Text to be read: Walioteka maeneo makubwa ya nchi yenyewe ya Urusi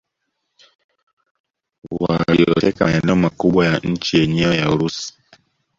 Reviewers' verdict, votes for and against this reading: rejected, 0, 2